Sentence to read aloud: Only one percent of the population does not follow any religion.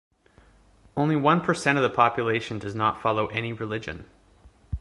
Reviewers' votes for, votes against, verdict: 2, 0, accepted